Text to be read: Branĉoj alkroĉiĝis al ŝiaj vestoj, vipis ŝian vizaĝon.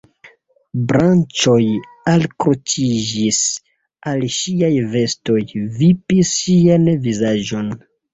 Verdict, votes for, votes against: rejected, 1, 2